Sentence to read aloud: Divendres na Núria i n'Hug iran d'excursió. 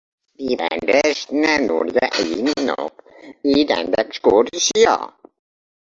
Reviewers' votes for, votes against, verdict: 1, 2, rejected